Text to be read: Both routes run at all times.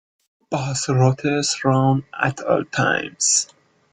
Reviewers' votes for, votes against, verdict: 0, 2, rejected